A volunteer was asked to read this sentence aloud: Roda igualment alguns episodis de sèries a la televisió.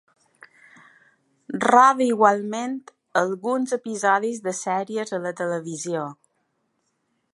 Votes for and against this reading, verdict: 2, 0, accepted